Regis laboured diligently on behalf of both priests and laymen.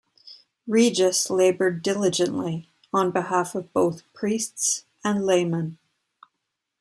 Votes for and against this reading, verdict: 2, 0, accepted